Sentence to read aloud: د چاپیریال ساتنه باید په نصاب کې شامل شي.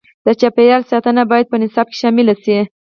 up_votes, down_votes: 0, 4